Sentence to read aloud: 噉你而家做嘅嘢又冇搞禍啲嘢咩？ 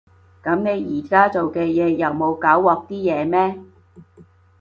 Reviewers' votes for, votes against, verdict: 2, 0, accepted